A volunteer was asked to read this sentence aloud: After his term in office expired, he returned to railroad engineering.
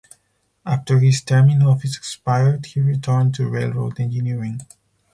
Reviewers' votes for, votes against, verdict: 4, 0, accepted